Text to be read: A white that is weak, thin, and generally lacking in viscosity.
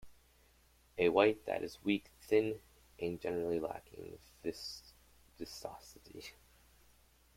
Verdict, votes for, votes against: rejected, 0, 2